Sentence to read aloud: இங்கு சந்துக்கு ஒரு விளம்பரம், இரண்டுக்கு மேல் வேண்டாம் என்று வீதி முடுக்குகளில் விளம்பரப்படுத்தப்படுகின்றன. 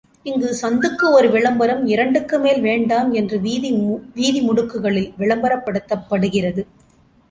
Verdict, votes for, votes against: rejected, 0, 2